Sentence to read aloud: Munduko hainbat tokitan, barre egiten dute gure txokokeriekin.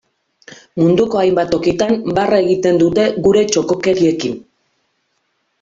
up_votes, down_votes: 2, 1